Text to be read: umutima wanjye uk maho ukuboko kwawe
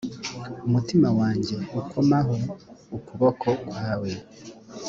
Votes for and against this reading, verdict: 2, 0, accepted